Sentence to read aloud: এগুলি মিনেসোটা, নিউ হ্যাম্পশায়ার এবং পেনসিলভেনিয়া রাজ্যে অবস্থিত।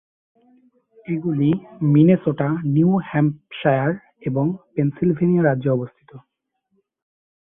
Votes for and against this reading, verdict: 2, 0, accepted